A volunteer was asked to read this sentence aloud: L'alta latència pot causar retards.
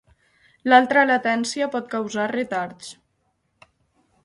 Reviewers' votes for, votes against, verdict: 2, 4, rejected